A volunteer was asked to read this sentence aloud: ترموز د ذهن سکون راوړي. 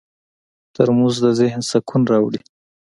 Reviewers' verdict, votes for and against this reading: accepted, 2, 0